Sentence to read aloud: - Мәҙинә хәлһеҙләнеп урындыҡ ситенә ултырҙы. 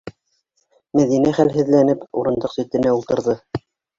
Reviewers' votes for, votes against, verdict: 2, 1, accepted